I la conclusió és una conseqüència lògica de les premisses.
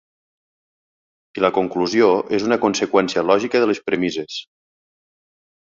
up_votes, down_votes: 2, 0